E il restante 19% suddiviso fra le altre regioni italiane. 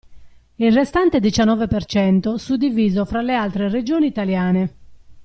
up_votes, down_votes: 0, 2